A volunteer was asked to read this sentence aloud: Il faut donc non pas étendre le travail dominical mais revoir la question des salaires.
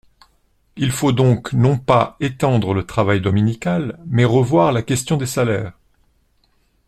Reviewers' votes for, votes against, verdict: 2, 0, accepted